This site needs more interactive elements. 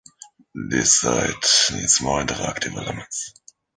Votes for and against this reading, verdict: 2, 0, accepted